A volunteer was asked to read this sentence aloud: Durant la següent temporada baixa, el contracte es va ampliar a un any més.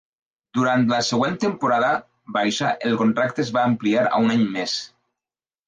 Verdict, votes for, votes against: accepted, 2, 0